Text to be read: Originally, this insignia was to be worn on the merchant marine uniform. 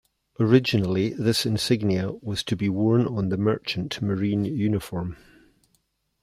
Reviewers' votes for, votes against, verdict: 2, 0, accepted